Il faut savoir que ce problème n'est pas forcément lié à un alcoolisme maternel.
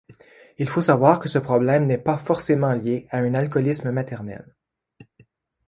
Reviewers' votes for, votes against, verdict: 2, 0, accepted